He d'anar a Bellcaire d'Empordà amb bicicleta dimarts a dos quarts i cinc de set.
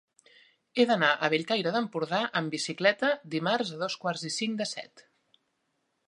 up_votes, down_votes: 3, 0